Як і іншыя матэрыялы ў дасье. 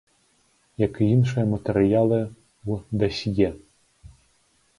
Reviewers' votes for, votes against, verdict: 0, 2, rejected